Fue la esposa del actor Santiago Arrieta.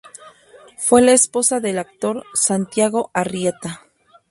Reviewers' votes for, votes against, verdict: 0, 2, rejected